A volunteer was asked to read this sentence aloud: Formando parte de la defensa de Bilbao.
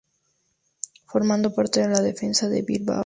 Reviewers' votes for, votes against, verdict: 0, 2, rejected